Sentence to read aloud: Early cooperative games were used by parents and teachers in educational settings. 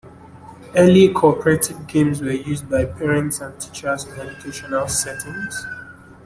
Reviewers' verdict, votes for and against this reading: rejected, 1, 2